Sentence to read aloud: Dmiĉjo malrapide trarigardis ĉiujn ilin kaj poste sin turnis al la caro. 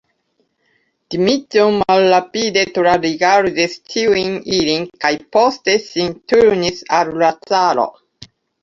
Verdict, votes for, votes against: rejected, 0, 2